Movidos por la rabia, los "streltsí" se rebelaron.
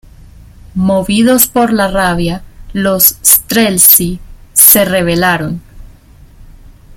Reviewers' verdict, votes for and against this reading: rejected, 0, 2